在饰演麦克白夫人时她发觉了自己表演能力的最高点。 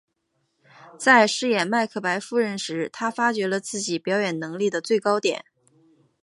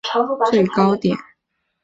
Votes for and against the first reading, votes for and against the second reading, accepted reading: 2, 0, 0, 2, first